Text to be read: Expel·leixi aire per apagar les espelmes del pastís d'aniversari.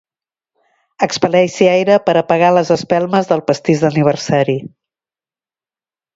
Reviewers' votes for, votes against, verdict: 2, 0, accepted